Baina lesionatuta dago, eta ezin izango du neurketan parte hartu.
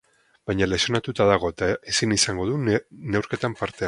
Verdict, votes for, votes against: rejected, 0, 4